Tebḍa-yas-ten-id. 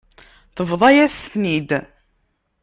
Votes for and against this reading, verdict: 2, 0, accepted